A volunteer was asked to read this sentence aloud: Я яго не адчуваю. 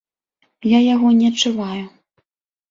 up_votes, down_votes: 2, 0